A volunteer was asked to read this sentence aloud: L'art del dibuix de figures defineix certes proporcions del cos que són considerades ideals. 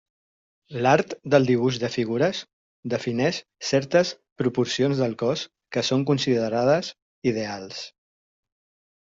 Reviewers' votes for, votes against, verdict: 3, 0, accepted